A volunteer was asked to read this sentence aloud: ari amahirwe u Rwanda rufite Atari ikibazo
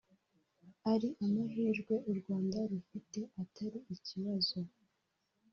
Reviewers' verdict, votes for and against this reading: accepted, 2, 1